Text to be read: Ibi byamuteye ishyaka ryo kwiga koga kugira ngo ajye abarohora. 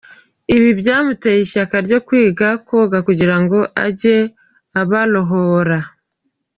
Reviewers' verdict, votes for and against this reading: accepted, 2, 0